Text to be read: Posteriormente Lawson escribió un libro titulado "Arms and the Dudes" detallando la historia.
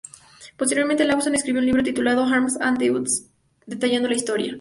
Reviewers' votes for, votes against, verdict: 0, 2, rejected